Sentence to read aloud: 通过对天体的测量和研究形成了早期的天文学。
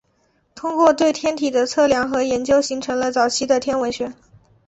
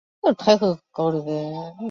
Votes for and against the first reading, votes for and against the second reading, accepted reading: 2, 0, 0, 4, first